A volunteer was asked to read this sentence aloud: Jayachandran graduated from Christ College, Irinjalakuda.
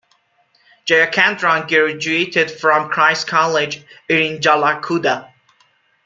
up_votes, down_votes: 1, 2